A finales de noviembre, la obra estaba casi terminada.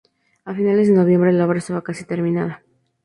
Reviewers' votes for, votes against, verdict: 2, 0, accepted